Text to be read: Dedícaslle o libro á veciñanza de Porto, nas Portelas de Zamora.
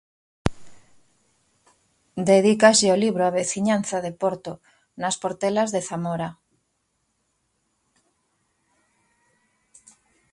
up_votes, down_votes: 2, 0